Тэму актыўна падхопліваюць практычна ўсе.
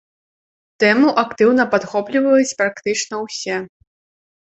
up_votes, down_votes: 2, 0